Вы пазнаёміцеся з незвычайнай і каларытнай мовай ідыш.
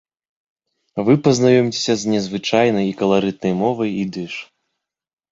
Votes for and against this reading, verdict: 1, 2, rejected